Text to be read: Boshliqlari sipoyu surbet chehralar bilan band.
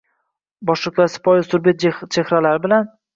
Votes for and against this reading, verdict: 0, 2, rejected